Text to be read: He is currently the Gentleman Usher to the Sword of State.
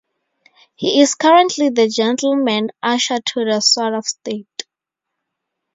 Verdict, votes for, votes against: accepted, 2, 0